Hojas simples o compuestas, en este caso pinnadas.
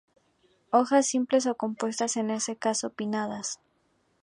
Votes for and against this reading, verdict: 2, 0, accepted